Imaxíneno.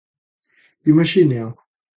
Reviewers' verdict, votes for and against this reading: rejected, 1, 2